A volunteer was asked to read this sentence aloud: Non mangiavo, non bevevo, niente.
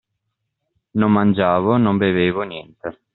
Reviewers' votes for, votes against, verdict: 2, 0, accepted